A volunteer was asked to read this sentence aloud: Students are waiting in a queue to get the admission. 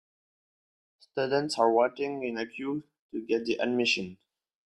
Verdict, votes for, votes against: accepted, 2, 1